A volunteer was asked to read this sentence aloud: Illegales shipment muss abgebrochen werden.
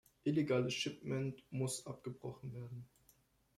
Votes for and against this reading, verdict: 2, 0, accepted